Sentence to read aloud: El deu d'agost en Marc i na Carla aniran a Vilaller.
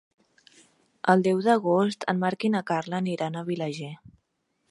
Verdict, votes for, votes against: rejected, 0, 2